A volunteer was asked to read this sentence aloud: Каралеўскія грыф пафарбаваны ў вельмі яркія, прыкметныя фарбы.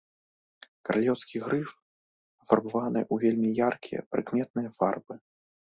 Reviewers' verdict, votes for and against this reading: accepted, 2, 0